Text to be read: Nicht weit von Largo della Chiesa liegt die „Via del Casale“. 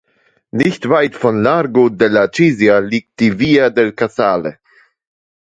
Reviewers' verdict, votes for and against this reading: accepted, 2, 0